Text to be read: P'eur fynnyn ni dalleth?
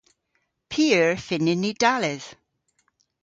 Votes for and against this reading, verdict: 1, 2, rejected